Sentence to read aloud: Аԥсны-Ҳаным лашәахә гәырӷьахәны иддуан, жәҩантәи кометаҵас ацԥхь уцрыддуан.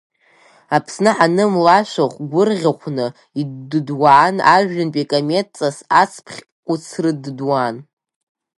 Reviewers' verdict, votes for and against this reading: rejected, 0, 2